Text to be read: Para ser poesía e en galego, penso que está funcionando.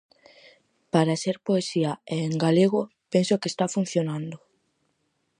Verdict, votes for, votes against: accepted, 4, 0